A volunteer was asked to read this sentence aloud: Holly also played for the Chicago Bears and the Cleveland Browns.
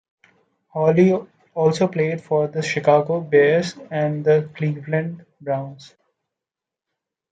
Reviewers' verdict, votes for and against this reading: rejected, 0, 2